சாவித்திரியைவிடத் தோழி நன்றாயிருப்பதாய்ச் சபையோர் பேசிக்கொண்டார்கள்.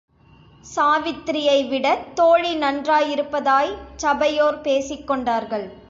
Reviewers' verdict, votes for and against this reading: accepted, 3, 0